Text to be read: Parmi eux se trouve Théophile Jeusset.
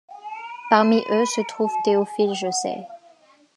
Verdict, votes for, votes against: accepted, 2, 0